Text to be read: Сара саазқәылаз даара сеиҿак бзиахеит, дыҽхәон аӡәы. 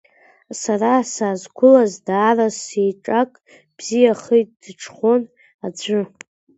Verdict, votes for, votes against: rejected, 0, 2